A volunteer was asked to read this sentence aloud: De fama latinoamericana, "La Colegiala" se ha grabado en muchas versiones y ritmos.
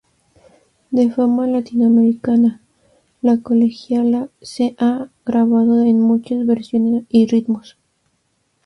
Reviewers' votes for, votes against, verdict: 2, 0, accepted